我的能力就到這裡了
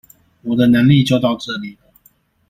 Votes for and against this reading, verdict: 1, 2, rejected